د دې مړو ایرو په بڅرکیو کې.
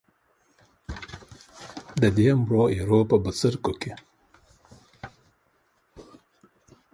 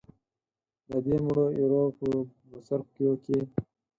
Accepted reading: first